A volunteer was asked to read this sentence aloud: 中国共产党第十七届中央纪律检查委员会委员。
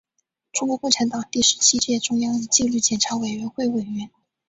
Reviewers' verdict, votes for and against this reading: accepted, 2, 1